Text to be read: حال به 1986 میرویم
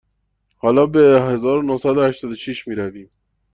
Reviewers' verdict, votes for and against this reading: rejected, 0, 2